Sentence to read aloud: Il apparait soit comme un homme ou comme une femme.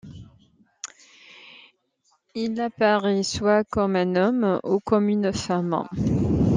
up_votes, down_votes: 2, 1